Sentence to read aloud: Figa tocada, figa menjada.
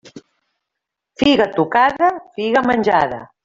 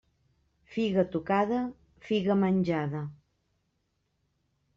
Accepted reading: second